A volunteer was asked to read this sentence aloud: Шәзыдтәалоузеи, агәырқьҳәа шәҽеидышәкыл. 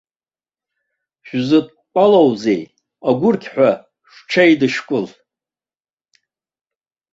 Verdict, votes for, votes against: accepted, 3, 0